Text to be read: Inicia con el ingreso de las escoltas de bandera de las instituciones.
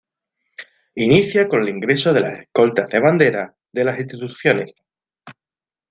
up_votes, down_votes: 1, 2